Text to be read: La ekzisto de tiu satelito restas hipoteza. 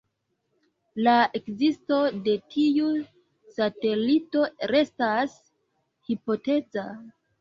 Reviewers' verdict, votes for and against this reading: accepted, 2, 0